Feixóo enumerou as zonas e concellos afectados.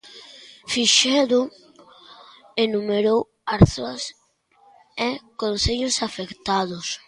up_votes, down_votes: 0, 2